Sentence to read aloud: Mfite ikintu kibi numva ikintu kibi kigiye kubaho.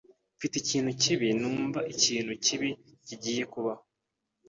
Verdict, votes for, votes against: accepted, 2, 0